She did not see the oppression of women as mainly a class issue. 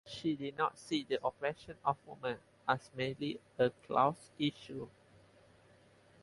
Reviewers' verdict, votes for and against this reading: rejected, 2, 2